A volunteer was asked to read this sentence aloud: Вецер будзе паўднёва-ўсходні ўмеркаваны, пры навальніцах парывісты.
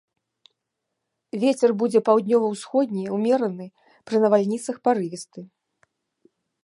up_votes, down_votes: 1, 2